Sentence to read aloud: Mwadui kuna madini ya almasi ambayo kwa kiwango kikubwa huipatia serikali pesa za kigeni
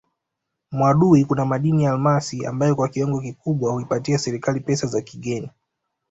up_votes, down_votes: 2, 1